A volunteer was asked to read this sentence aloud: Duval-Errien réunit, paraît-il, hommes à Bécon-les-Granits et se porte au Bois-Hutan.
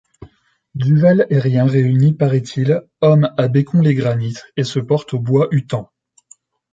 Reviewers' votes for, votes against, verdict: 2, 0, accepted